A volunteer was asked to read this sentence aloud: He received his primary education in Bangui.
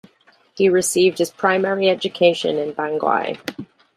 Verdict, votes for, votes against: accepted, 2, 0